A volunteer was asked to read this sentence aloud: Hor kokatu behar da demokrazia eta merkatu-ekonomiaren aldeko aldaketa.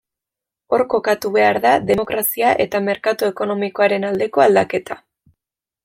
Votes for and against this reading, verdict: 0, 2, rejected